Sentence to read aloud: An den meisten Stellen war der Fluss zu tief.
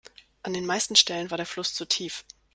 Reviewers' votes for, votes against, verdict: 2, 0, accepted